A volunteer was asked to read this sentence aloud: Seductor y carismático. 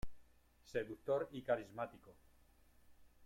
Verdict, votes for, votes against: rejected, 0, 2